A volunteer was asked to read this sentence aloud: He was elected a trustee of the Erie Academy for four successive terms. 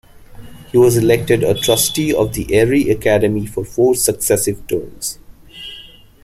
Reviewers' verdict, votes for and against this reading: accepted, 2, 0